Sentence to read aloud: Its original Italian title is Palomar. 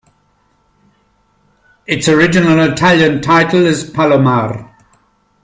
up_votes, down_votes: 1, 2